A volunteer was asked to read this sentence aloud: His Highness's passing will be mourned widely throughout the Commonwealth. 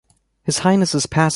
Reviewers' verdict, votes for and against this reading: rejected, 0, 2